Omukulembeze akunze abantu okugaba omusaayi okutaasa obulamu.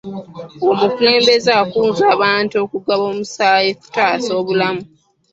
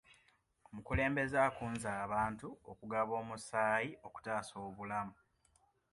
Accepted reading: second